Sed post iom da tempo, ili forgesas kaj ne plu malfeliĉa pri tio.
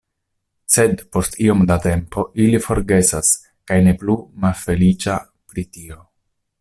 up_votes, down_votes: 2, 0